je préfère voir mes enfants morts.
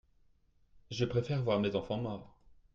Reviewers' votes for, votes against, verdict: 2, 0, accepted